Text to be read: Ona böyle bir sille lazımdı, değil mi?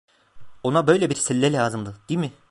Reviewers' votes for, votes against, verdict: 0, 2, rejected